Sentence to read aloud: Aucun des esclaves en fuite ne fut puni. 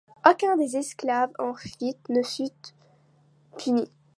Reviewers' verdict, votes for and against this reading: rejected, 1, 2